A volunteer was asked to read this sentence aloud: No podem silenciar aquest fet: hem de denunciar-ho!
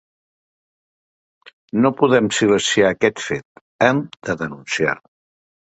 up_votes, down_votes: 0, 2